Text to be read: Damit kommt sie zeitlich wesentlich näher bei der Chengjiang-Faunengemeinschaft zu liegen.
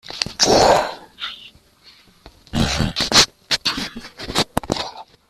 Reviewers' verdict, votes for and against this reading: rejected, 0, 2